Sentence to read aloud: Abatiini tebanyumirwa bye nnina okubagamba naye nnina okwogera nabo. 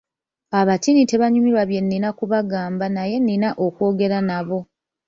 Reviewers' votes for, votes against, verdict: 2, 1, accepted